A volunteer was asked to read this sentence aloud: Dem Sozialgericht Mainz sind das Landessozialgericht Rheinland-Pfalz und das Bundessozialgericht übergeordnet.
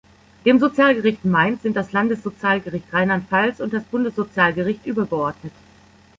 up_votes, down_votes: 2, 0